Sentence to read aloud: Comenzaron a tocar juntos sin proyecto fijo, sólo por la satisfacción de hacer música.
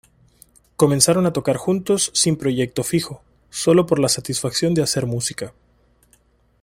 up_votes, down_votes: 2, 0